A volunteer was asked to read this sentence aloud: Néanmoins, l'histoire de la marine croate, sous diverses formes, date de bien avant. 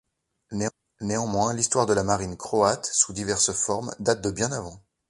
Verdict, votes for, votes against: rejected, 1, 3